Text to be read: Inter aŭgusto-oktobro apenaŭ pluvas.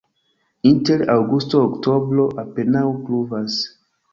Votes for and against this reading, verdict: 1, 2, rejected